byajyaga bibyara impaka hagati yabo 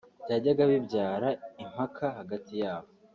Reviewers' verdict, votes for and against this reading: rejected, 2, 3